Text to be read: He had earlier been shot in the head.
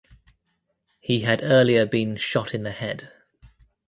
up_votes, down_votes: 2, 0